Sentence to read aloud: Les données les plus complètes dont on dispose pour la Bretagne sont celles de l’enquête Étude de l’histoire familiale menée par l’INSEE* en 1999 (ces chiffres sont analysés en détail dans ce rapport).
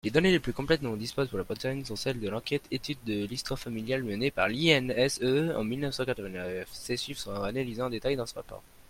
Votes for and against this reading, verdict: 0, 2, rejected